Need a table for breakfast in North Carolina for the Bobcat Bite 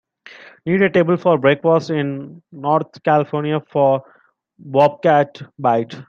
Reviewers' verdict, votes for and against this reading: rejected, 0, 2